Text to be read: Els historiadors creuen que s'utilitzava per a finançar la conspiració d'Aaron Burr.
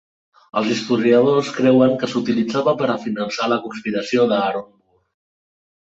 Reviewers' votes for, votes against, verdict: 0, 2, rejected